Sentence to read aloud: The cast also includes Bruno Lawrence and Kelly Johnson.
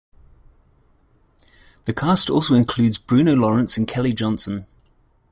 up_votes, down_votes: 2, 0